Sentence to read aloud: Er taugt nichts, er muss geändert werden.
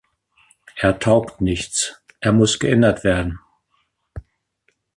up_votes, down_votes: 2, 0